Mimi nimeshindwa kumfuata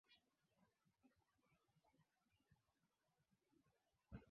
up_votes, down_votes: 0, 2